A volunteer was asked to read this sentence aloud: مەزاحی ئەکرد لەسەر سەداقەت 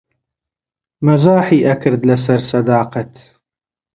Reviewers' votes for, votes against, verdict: 2, 0, accepted